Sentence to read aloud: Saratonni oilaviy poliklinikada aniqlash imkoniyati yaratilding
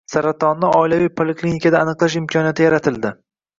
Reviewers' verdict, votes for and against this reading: accepted, 2, 0